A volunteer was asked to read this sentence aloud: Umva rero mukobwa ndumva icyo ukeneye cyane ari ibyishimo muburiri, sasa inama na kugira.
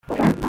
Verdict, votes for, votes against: rejected, 0, 2